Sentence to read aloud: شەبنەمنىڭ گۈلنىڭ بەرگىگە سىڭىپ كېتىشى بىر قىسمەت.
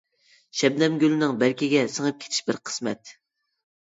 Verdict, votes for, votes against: rejected, 0, 2